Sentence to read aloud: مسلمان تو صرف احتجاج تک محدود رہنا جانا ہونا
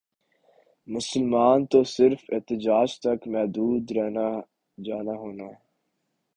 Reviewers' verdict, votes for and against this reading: accepted, 2, 0